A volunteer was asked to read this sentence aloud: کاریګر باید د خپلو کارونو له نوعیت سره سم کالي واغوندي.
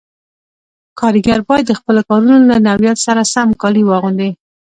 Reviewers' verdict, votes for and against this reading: accepted, 2, 0